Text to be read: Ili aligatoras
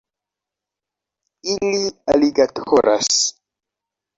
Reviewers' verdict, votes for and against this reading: rejected, 1, 2